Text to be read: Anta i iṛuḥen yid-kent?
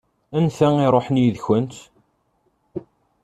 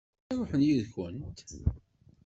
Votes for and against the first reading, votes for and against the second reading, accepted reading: 2, 0, 0, 2, first